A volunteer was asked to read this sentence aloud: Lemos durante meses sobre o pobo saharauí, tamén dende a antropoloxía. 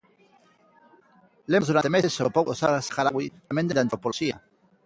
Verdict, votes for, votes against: rejected, 0, 2